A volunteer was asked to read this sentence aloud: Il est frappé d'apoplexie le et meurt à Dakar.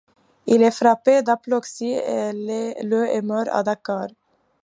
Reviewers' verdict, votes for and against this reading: rejected, 0, 2